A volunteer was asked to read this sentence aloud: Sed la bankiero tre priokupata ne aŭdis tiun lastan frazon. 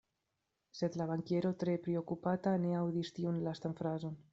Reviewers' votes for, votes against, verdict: 2, 0, accepted